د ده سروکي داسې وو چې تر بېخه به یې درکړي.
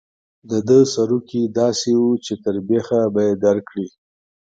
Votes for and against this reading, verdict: 2, 0, accepted